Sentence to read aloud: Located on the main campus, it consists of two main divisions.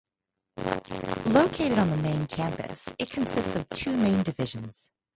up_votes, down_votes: 2, 0